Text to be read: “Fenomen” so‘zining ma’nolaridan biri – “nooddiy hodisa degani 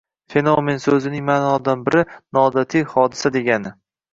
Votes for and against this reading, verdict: 2, 0, accepted